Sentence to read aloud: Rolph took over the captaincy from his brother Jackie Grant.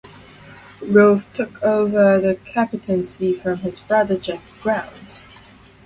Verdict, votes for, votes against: accepted, 2, 0